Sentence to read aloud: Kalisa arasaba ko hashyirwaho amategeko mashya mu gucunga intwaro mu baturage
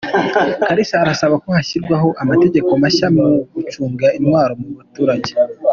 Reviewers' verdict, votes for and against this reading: accepted, 2, 0